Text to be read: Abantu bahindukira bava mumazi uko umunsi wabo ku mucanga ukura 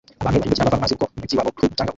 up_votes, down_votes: 0, 2